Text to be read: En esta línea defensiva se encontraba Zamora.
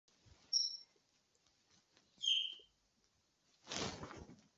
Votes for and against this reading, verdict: 0, 2, rejected